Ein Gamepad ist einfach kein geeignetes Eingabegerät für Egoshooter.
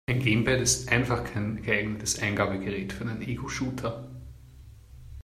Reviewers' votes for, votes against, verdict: 0, 2, rejected